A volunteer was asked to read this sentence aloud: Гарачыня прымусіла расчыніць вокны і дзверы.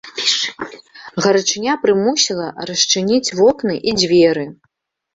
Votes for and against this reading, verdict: 1, 2, rejected